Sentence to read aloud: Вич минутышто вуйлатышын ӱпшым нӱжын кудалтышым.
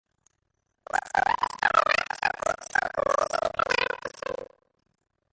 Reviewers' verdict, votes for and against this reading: rejected, 0, 2